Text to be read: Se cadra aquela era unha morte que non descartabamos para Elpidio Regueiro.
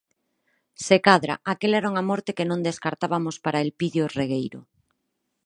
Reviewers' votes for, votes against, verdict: 0, 4, rejected